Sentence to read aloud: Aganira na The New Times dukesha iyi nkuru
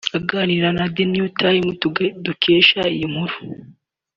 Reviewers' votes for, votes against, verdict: 0, 2, rejected